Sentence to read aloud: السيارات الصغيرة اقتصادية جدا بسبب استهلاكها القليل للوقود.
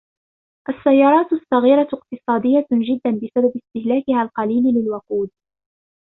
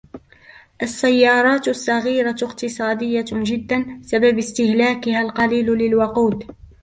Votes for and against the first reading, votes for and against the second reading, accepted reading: 2, 0, 1, 2, first